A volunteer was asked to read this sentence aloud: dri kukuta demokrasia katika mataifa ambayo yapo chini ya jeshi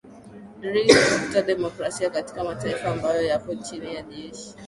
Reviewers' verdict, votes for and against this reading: accepted, 4, 2